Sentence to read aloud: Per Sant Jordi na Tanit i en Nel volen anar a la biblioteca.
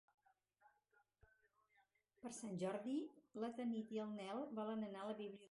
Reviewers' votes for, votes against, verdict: 0, 4, rejected